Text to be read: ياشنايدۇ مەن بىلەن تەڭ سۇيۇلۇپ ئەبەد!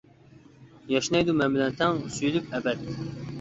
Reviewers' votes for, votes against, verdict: 0, 2, rejected